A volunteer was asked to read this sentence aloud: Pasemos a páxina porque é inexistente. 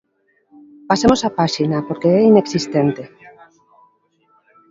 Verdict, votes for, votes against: accepted, 2, 1